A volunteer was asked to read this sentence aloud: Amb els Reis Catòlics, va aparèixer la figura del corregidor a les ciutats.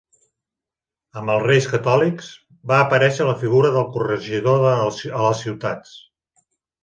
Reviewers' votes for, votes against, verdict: 1, 2, rejected